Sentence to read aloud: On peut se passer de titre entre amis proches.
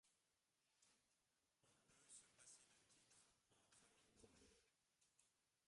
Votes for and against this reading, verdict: 0, 2, rejected